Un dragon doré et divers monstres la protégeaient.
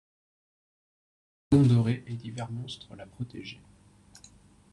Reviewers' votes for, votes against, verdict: 0, 2, rejected